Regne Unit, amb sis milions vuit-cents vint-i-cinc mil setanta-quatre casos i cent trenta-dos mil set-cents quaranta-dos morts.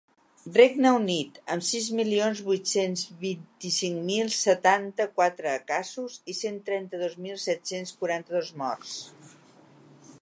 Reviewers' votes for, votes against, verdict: 3, 0, accepted